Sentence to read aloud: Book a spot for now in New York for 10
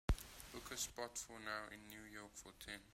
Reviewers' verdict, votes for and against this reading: rejected, 0, 2